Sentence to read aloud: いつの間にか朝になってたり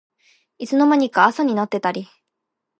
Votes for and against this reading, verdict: 2, 0, accepted